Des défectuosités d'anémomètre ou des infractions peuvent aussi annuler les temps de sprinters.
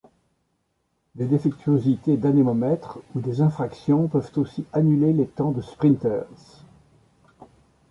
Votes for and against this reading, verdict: 2, 1, accepted